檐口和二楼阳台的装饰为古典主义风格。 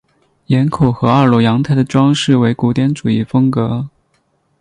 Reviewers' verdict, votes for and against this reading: accepted, 2, 0